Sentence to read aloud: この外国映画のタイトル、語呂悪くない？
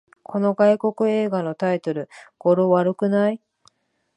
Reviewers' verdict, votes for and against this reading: accepted, 2, 0